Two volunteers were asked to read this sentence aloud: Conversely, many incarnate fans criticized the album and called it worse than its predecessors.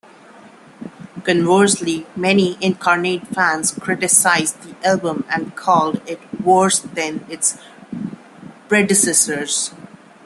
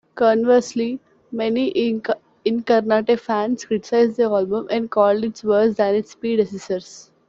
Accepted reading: first